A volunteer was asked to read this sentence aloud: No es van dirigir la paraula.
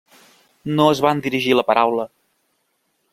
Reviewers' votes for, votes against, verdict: 3, 0, accepted